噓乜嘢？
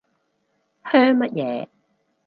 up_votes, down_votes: 0, 2